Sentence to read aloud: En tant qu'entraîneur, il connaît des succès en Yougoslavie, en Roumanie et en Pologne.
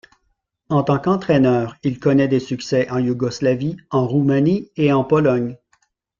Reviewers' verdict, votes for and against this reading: accepted, 2, 0